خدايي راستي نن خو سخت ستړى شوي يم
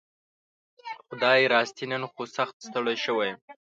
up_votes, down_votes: 1, 2